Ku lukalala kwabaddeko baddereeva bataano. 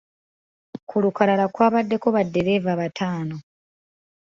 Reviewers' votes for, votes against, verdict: 2, 0, accepted